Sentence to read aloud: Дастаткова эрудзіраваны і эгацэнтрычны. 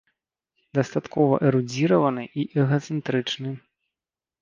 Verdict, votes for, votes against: accepted, 2, 0